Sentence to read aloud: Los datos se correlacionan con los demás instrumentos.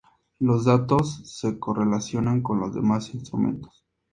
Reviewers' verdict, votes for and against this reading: accepted, 4, 0